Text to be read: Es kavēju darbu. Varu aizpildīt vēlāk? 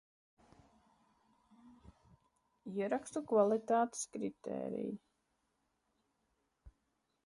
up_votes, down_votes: 0, 2